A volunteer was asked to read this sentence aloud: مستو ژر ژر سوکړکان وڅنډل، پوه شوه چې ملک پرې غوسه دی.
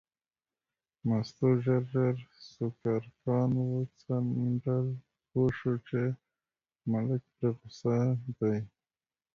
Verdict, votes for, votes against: rejected, 0, 2